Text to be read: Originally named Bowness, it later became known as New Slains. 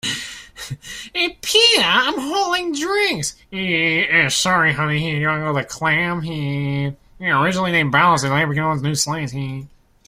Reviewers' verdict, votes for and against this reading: rejected, 0, 3